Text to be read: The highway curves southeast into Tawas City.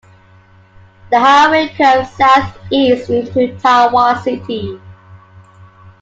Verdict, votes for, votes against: accepted, 2, 1